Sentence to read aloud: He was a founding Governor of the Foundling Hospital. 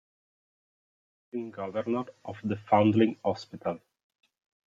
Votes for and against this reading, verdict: 0, 2, rejected